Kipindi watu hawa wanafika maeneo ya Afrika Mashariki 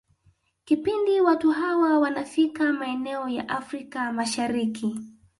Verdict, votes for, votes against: rejected, 0, 2